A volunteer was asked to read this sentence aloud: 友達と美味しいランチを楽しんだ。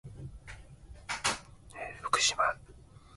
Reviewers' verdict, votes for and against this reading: rejected, 0, 3